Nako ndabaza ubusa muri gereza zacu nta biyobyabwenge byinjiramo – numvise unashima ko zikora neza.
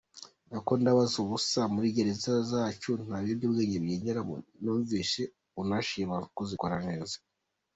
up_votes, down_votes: 1, 2